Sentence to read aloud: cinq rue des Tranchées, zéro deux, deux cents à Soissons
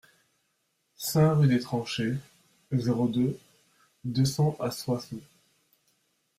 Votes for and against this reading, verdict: 0, 2, rejected